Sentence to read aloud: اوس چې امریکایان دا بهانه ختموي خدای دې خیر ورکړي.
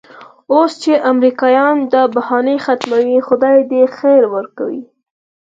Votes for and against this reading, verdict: 4, 0, accepted